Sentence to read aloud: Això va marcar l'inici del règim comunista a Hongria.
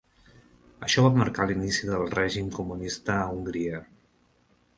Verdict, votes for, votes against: accepted, 3, 0